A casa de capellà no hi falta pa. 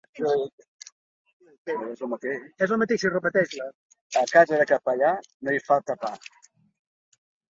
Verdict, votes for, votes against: rejected, 1, 2